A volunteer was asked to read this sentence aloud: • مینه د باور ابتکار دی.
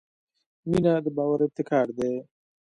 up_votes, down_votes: 2, 0